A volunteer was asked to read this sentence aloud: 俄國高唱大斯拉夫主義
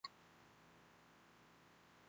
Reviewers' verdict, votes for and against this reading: rejected, 0, 2